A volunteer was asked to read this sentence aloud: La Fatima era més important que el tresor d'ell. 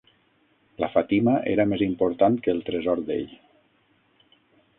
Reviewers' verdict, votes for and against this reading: rejected, 3, 6